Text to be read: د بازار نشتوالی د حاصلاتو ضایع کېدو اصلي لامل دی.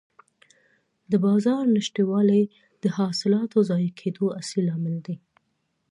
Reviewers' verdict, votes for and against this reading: accepted, 2, 0